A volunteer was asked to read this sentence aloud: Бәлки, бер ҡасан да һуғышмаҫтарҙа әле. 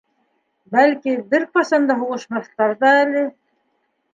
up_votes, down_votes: 3, 0